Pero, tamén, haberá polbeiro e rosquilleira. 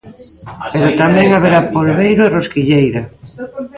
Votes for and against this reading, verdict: 1, 2, rejected